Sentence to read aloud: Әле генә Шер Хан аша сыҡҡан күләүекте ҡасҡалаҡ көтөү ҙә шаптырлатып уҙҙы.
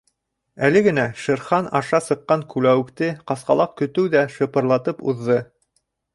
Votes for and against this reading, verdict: 1, 2, rejected